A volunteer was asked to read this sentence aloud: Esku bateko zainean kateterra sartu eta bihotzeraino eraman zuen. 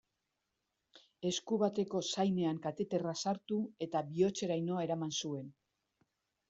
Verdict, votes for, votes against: accepted, 2, 0